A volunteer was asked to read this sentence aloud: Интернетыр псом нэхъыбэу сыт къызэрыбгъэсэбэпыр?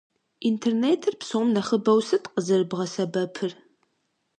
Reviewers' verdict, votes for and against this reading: accepted, 2, 0